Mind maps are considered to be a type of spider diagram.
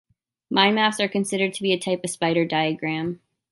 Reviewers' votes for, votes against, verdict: 2, 0, accepted